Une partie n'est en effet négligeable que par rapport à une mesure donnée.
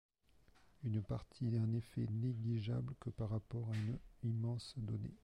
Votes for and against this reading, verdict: 1, 2, rejected